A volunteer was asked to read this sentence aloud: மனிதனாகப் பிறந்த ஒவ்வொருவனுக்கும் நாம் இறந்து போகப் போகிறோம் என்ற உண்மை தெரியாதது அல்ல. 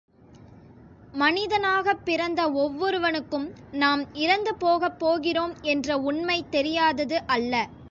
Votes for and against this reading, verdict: 2, 0, accepted